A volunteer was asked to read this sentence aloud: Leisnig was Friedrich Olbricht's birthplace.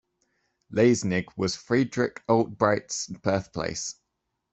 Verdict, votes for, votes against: rejected, 1, 2